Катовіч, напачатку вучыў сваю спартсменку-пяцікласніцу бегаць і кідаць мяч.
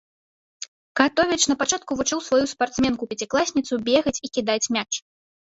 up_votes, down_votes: 2, 0